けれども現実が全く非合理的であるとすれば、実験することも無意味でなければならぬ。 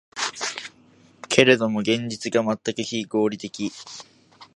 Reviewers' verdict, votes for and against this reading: rejected, 0, 3